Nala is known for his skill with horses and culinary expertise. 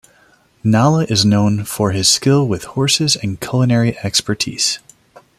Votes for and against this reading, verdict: 2, 0, accepted